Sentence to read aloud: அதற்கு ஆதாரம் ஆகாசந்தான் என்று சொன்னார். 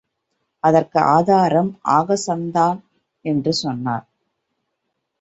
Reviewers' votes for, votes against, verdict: 1, 2, rejected